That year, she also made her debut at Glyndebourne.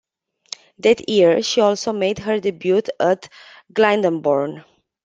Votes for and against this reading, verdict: 1, 2, rejected